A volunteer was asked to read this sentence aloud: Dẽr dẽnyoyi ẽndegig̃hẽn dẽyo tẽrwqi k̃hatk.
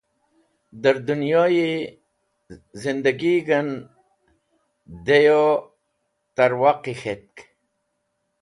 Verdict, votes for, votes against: rejected, 1, 2